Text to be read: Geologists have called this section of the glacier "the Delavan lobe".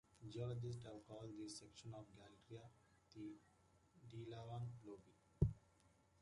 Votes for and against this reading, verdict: 2, 0, accepted